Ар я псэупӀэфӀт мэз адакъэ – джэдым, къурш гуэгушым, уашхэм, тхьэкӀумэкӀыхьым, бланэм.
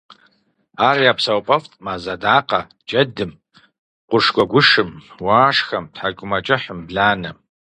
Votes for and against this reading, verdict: 4, 0, accepted